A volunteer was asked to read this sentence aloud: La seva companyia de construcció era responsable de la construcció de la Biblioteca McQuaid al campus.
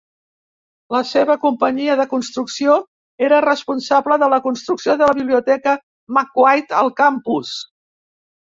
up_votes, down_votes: 2, 0